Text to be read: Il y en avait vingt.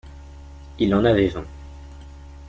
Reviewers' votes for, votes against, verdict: 1, 2, rejected